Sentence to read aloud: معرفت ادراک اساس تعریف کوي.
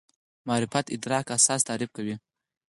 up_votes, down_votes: 4, 2